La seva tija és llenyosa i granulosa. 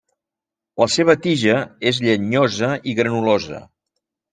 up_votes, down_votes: 3, 0